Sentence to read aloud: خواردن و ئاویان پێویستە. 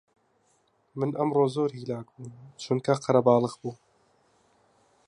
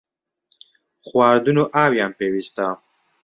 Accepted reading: second